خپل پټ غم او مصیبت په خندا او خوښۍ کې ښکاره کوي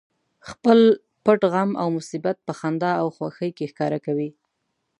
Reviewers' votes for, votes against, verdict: 2, 1, accepted